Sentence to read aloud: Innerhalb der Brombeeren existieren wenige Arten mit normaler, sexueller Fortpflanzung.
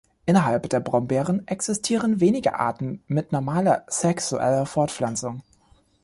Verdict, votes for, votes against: accepted, 2, 0